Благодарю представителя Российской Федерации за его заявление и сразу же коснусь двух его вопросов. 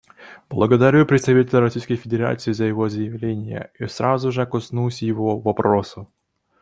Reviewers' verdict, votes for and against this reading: rejected, 1, 2